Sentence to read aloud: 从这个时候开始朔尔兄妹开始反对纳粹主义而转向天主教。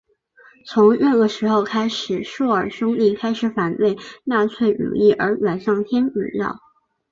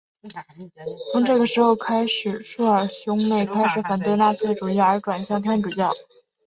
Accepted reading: second